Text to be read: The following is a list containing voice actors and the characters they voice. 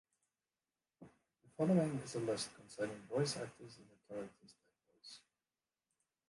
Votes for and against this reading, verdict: 0, 2, rejected